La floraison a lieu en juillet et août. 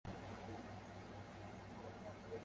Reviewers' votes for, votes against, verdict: 0, 2, rejected